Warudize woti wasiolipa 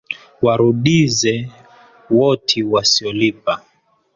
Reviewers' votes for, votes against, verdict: 4, 1, accepted